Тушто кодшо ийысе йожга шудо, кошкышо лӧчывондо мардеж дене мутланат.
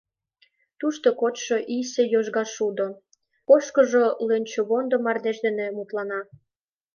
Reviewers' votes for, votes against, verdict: 1, 2, rejected